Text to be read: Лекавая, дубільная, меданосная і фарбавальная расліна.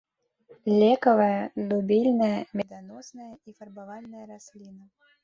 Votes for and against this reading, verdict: 1, 2, rejected